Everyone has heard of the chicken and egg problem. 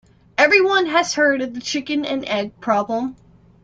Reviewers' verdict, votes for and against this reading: accepted, 2, 0